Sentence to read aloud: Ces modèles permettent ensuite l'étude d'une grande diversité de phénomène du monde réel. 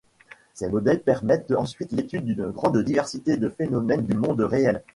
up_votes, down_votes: 1, 2